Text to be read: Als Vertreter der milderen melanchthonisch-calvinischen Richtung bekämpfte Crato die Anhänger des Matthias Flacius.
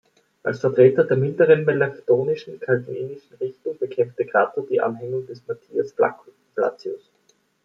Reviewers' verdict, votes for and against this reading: rejected, 0, 2